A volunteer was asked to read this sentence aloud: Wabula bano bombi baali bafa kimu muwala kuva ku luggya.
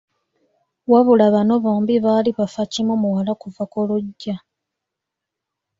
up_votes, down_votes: 2, 0